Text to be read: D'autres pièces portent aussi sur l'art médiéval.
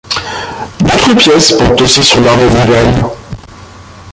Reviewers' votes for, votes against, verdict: 0, 2, rejected